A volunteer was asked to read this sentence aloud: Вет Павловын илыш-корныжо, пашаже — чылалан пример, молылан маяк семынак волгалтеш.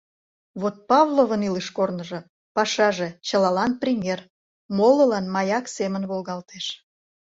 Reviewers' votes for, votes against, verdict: 1, 2, rejected